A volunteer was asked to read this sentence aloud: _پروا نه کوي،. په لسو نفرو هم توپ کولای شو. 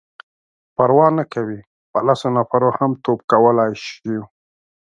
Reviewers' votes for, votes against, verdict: 2, 3, rejected